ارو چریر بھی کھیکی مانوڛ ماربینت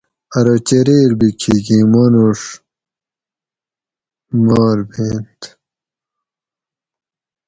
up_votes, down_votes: 4, 0